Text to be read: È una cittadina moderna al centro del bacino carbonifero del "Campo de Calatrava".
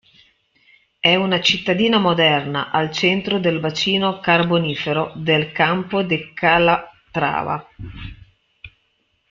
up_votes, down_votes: 0, 2